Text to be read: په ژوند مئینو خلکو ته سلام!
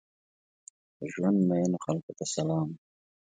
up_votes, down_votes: 2, 0